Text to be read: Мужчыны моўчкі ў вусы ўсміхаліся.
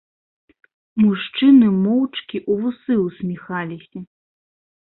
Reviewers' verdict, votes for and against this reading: rejected, 0, 2